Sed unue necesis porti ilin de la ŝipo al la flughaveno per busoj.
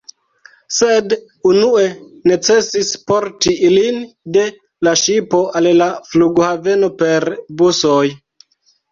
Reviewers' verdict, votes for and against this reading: rejected, 1, 2